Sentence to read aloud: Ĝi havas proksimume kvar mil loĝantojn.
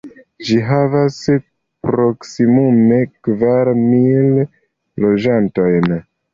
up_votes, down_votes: 1, 2